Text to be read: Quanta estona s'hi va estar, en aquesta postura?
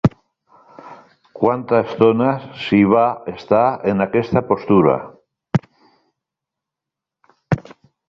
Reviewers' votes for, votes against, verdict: 2, 1, accepted